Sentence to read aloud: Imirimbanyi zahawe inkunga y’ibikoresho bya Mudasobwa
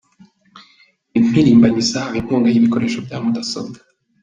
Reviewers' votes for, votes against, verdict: 1, 2, rejected